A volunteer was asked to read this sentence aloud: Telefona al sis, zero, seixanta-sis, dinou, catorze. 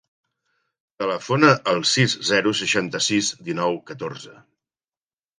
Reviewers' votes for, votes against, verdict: 3, 0, accepted